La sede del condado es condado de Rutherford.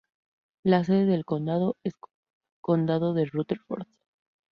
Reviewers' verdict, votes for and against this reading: rejected, 0, 4